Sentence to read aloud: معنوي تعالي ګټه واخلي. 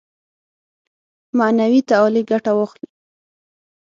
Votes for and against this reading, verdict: 6, 0, accepted